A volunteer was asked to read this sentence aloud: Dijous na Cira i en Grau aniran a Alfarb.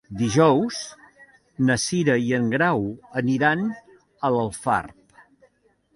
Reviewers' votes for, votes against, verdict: 0, 2, rejected